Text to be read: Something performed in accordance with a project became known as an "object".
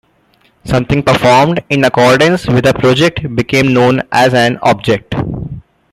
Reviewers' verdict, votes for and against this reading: accepted, 2, 1